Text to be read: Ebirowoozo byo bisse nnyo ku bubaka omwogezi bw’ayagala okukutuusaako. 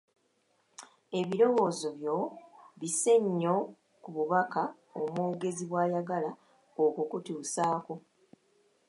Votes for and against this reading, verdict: 2, 0, accepted